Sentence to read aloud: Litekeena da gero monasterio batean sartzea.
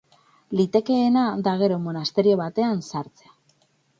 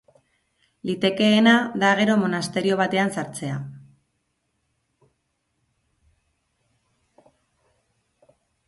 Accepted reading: second